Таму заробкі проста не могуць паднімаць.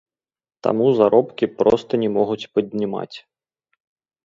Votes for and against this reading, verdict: 1, 2, rejected